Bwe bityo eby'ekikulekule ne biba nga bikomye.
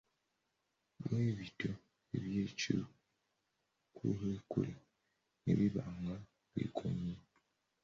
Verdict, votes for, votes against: rejected, 0, 2